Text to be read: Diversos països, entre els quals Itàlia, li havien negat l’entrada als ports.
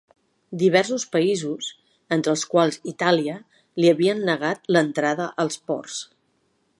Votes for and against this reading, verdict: 3, 0, accepted